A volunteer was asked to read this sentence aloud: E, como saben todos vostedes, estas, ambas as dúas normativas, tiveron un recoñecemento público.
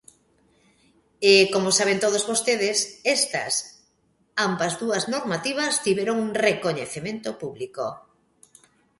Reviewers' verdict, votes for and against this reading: rejected, 0, 2